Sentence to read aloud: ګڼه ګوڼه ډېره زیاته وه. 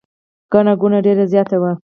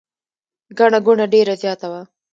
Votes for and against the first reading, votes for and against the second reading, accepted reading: 0, 4, 2, 0, second